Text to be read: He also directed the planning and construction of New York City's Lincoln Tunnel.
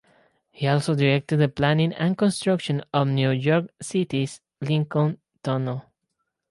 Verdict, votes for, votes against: accepted, 4, 0